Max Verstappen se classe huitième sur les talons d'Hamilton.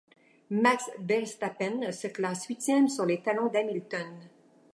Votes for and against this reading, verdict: 2, 1, accepted